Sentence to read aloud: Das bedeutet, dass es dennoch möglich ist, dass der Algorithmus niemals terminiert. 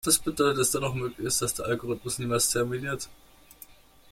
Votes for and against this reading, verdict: 1, 2, rejected